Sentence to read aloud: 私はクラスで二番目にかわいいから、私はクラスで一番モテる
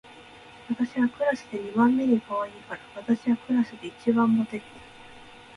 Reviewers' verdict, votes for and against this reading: rejected, 0, 3